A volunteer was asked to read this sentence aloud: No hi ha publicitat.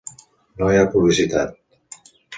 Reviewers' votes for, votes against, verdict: 2, 0, accepted